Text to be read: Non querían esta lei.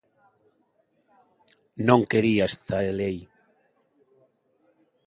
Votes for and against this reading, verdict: 1, 2, rejected